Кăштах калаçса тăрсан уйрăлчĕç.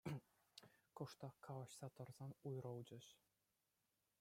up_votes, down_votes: 2, 0